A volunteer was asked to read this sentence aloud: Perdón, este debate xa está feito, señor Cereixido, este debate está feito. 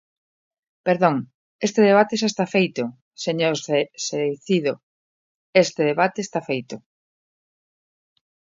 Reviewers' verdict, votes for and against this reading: rejected, 0, 2